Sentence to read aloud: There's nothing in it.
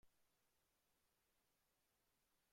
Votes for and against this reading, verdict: 0, 2, rejected